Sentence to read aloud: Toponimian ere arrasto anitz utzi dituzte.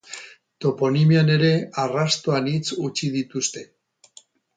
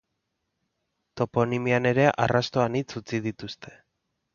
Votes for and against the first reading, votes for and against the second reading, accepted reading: 2, 2, 3, 0, second